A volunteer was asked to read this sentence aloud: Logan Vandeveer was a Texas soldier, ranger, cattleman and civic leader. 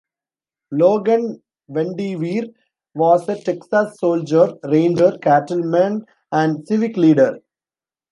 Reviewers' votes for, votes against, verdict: 1, 2, rejected